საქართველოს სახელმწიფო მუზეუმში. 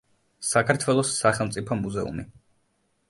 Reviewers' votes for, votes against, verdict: 1, 2, rejected